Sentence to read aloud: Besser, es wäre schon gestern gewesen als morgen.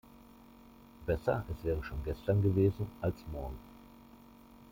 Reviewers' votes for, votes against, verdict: 2, 1, accepted